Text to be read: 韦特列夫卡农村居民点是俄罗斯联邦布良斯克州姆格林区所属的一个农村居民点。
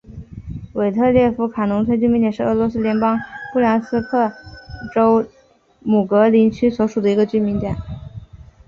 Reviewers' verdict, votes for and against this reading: accepted, 4, 1